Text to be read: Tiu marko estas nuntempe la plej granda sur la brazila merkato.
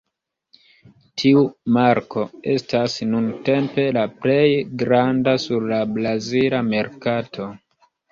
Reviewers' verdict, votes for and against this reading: rejected, 1, 2